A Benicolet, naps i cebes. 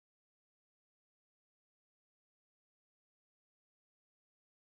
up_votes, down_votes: 1, 2